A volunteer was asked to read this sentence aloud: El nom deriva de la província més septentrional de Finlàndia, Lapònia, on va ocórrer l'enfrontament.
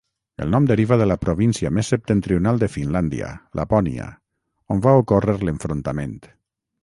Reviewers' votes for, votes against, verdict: 6, 0, accepted